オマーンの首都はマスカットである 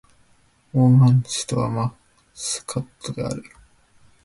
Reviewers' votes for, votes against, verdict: 3, 3, rejected